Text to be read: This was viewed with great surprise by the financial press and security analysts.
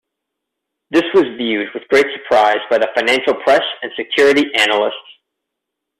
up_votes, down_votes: 2, 0